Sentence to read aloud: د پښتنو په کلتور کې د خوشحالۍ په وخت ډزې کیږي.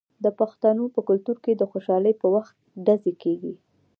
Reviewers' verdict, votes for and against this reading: rejected, 1, 2